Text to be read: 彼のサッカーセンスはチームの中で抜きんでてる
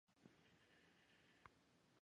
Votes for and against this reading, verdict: 0, 2, rejected